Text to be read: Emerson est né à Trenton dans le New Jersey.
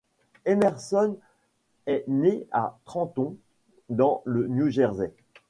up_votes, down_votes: 2, 1